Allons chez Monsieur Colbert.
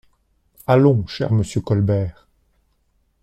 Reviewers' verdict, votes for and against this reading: rejected, 0, 2